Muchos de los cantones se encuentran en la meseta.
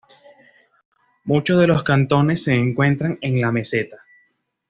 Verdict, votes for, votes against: accepted, 2, 0